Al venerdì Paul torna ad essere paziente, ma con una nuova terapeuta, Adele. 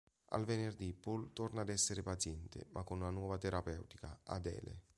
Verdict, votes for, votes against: accepted, 2, 1